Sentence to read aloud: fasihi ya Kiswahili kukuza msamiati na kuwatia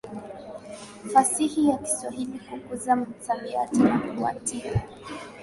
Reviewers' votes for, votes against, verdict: 0, 2, rejected